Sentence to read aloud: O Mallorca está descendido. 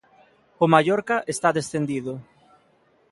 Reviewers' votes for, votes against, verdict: 2, 0, accepted